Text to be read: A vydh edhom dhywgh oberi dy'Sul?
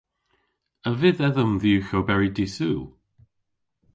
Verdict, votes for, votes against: accepted, 2, 0